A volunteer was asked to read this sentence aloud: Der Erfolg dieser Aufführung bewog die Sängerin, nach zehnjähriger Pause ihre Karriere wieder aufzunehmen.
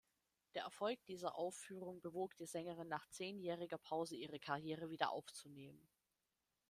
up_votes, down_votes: 2, 1